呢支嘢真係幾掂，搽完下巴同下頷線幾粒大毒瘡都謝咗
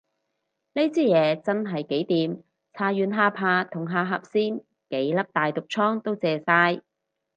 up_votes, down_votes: 2, 2